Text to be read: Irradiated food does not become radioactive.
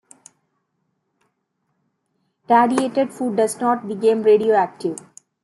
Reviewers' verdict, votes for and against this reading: rejected, 1, 2